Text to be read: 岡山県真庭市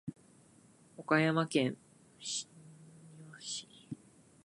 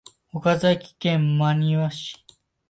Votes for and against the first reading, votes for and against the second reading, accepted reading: 0, 2, 2, 0, second